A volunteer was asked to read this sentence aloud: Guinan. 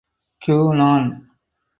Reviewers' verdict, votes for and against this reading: accepted, 4, 0